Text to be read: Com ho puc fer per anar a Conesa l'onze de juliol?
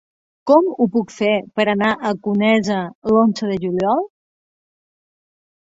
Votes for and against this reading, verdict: 6, 0, accepted